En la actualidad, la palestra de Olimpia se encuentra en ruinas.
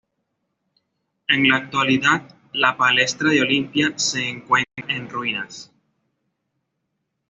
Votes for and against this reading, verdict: 2, 0, accepted